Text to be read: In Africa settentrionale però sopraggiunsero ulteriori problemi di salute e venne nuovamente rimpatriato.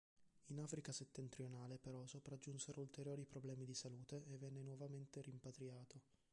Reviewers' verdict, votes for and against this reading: rejected, 0, 2